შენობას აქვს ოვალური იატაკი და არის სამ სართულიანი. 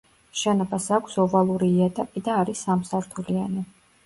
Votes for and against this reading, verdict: 2, 0, accepted